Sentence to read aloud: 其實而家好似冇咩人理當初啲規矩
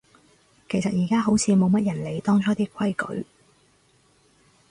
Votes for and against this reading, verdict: 2, 2, rejected